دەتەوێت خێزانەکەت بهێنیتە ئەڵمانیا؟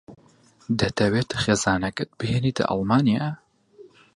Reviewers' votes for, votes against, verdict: 4, 0, accepted